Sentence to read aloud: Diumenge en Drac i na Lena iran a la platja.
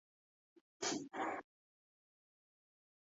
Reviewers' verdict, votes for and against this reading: rejected, 0, 3